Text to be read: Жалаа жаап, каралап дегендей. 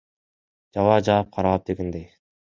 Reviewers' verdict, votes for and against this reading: accepted, 2, 1